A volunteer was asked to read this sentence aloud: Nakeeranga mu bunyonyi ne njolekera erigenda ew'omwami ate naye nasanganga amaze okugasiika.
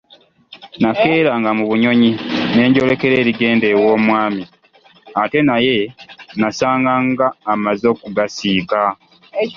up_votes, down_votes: 2, 1